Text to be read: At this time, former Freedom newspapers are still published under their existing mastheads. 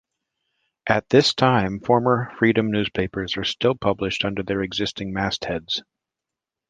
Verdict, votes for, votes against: accepted, 2, 0